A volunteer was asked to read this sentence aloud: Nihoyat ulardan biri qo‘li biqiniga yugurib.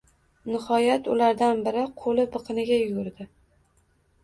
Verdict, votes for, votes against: rejected, 1, 2